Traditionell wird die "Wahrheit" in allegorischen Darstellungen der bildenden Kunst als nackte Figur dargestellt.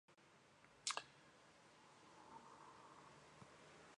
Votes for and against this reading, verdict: 0, 2, rejected